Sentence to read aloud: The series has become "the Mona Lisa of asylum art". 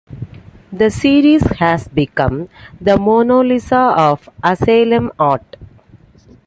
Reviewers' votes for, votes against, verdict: 2, 1, accepted